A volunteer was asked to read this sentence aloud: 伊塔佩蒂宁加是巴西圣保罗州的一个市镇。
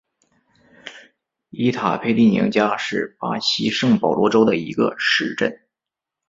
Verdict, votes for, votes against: rejected, 0, 2